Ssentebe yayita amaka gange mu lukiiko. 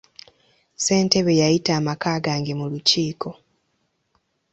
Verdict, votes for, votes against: accepted, 2, 0